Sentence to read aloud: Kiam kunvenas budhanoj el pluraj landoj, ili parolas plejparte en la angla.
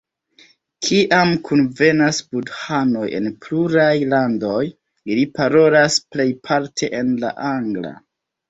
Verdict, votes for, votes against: accepted, 2, 1